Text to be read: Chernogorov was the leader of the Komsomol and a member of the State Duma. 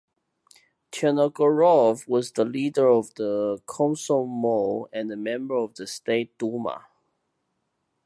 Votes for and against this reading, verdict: 0, 2, rejected